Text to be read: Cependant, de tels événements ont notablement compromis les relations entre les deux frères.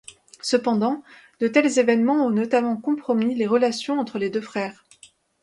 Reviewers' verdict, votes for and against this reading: accepted, 2, 0